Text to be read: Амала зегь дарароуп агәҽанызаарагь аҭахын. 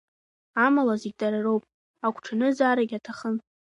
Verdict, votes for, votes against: accepted, 2, 1